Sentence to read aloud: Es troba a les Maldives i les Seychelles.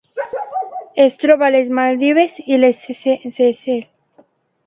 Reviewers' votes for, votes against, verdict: 0, 2, rejected